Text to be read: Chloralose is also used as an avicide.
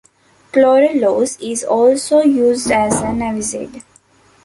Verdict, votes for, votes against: rejected, 0, 2